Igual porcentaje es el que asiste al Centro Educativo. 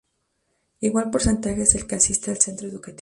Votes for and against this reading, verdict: 2, 0, accepted